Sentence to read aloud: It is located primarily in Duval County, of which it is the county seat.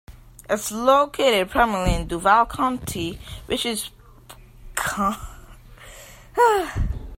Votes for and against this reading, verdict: 0, 2, rejected